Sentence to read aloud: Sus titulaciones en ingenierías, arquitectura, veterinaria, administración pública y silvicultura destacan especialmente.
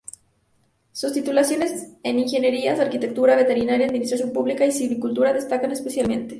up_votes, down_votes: 2, 2